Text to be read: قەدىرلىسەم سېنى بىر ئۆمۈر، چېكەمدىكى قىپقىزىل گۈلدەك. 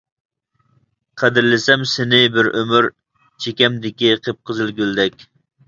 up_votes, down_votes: 2, 0